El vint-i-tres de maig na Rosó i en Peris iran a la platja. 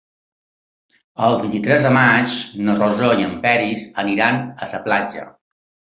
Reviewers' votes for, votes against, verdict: 2, 3, rejected